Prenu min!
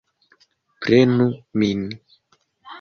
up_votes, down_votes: 2, 0